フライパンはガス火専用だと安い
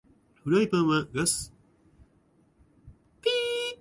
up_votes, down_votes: 2, 1